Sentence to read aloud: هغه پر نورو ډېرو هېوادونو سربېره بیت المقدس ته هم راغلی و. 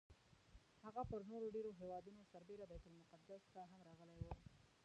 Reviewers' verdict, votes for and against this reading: rejected, 1, 2